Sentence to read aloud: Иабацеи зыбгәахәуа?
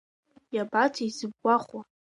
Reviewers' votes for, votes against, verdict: 2, 0, accepted